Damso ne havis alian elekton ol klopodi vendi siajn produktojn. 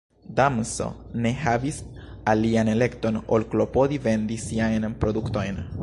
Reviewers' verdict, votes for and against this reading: rejected, 0, 2